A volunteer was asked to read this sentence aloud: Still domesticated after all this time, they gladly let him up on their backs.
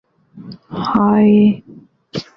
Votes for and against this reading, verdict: 0, 2, rejected